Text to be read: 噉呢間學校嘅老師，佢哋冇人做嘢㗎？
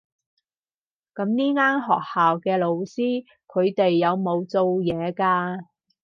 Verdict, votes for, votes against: rejected, 2, 2